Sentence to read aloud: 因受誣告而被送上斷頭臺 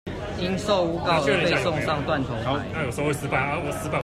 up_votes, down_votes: 0, 2